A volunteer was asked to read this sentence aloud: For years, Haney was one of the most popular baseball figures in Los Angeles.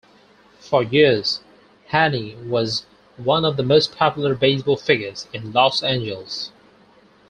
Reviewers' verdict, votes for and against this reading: accepted, 4, 0